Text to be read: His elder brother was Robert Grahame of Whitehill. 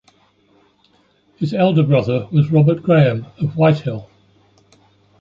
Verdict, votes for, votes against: accepted, 2, 0